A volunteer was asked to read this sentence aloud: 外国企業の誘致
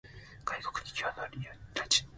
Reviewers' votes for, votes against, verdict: 0, 2, rejected